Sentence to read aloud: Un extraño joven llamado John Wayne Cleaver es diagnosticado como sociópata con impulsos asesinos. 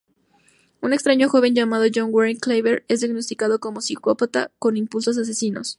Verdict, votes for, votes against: rejected, 0, 2